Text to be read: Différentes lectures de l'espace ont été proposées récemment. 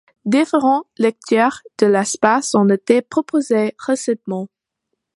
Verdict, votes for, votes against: accepted, 2, 1